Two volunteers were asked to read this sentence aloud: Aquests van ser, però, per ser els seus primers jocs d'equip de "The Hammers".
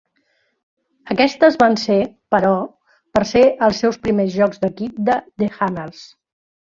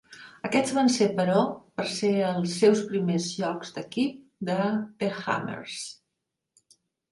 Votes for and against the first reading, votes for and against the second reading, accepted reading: 0, 2, 2, 0, second